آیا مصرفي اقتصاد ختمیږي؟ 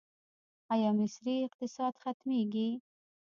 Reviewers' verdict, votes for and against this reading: rejected, 0, 2